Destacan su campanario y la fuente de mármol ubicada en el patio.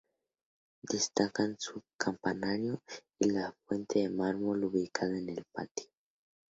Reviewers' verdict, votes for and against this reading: accepted, 2, 0